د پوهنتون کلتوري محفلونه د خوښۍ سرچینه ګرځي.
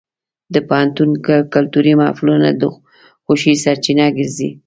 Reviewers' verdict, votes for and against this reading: accepted, 2, 0